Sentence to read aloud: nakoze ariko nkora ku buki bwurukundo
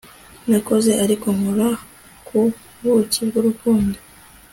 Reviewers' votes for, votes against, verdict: 3, 1, accepted